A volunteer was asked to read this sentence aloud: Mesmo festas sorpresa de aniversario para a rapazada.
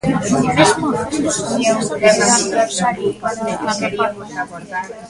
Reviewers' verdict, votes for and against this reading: rejected, 0, 2